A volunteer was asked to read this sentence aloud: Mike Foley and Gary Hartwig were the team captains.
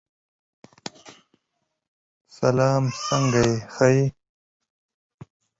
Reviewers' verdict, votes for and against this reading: rejected, 0, 2